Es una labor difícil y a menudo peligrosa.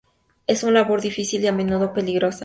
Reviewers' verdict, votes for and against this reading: accepted, 2, 0